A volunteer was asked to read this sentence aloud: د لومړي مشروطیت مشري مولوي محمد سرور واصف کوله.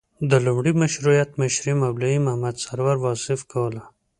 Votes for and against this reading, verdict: 2, 0, accepted